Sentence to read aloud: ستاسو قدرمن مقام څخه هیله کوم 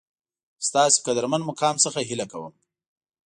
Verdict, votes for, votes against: accepted, 2, 0